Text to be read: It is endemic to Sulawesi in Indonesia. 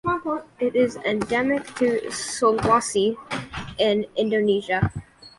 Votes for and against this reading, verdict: 1, 2, rejected